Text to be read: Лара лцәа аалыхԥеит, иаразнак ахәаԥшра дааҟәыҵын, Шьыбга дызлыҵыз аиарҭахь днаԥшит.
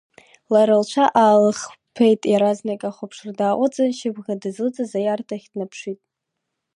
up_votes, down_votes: 0, 2